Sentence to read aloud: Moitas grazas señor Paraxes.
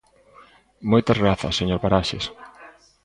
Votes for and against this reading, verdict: 0, 2, rejected